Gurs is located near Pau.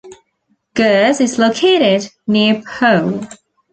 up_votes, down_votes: 2, 0